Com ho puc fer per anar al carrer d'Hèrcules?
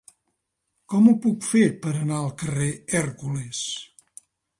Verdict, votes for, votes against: rejected, 1, 3